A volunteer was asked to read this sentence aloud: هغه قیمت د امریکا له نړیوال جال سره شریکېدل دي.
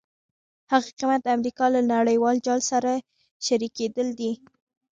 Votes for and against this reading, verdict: 1, 2, rejected